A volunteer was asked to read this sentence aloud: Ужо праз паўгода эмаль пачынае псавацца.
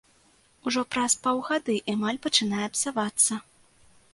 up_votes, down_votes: 1, 2